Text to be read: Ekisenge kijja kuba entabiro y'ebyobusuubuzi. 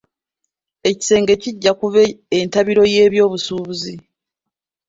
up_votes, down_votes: 2, 0